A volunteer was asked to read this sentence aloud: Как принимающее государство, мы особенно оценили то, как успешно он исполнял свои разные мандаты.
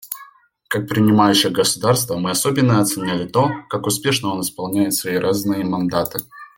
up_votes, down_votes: 0, 2